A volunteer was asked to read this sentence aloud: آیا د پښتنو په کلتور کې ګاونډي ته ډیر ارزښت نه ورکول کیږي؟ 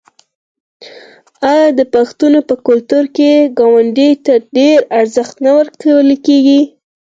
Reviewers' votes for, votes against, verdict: 4, 0, accepted